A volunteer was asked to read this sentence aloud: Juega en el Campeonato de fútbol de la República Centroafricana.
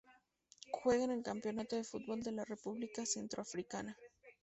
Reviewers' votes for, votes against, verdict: 2, 0, accepted